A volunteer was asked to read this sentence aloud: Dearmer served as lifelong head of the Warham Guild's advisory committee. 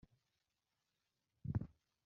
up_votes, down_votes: 0, 2